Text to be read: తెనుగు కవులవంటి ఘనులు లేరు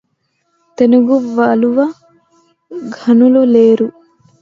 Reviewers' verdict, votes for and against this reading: rejected, 0, 2